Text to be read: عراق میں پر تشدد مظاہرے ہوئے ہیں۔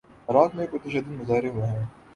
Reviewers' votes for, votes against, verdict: 6, 4, accepted